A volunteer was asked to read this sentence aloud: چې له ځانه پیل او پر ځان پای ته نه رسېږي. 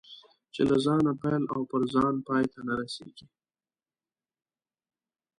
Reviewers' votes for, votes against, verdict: 2, 0, accepted